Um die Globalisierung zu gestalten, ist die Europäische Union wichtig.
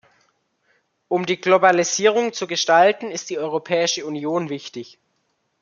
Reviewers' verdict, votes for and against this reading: accepted, 2, 0